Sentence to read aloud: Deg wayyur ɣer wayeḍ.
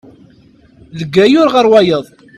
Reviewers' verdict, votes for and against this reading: rejected, 1, 2